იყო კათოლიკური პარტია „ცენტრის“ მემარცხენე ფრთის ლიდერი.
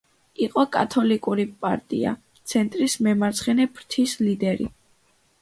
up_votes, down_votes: 2, 0